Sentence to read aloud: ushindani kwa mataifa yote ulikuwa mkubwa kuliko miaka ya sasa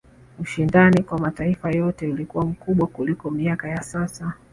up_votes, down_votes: 2, 0